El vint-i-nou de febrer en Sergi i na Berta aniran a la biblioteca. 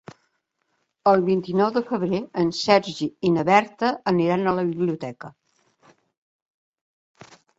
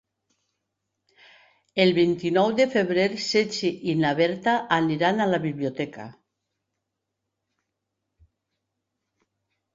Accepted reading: first